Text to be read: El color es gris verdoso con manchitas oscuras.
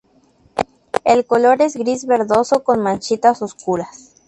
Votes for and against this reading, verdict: 2, 0, accepted